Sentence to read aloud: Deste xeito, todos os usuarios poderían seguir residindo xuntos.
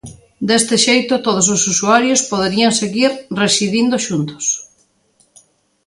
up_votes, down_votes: 2, 0